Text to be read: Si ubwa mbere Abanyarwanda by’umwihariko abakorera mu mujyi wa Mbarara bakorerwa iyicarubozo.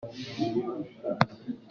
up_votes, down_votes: 0, 2